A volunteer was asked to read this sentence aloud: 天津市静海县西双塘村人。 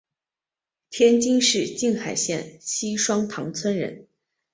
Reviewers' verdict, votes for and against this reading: rejected, 1, 2